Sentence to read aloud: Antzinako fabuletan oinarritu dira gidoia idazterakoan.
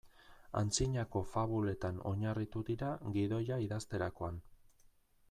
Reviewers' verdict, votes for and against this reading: accepted, 2, 0